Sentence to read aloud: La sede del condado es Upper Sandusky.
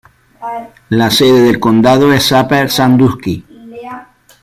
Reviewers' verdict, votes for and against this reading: accepted, 3, 0